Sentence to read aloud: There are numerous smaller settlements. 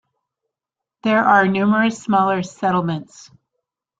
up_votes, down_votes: 2, 0